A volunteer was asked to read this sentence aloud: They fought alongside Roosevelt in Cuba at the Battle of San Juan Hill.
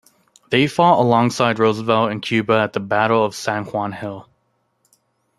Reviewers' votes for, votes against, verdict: 2, 0, accepted